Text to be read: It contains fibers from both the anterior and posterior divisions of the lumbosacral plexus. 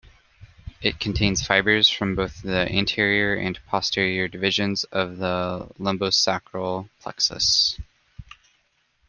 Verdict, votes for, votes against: accepted, 2, 0